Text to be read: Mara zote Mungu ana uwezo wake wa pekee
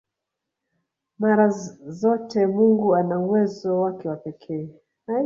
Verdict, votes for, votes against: rejected, 1, 2